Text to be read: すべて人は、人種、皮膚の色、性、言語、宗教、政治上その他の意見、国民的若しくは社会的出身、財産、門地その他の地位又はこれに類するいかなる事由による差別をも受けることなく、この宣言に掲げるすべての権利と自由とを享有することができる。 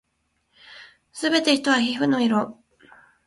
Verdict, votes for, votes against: rejected, 1, 2